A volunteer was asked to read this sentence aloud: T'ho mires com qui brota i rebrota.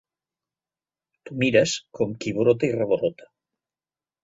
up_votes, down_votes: 1, 2